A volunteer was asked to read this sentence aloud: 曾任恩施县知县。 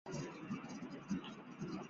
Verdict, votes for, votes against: rejected, 0, 2